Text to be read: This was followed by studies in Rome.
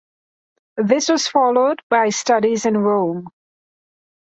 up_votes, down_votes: 2, 0